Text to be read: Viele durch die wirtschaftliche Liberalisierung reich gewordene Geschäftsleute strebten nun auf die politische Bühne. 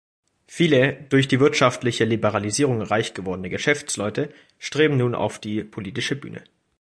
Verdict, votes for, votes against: rejected, 1, 2